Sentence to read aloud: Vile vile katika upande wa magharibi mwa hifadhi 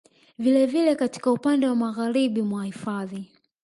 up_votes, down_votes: 0, 2